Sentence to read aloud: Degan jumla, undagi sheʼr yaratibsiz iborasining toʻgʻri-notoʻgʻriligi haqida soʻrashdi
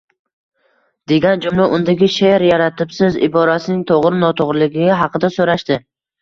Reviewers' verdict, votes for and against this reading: accepted, 2, 0